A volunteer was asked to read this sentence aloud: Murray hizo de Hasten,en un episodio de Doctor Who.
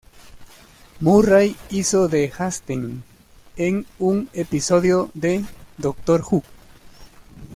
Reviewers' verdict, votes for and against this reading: rejected, 0, 2